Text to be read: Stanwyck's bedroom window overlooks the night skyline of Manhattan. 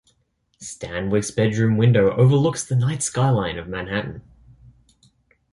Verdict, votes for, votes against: accepted, 2, 0